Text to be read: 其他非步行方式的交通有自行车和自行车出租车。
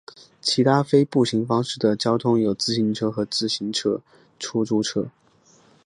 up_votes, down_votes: 2, 0